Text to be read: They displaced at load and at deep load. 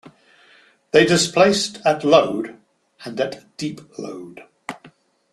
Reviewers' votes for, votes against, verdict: 2, 0, accepted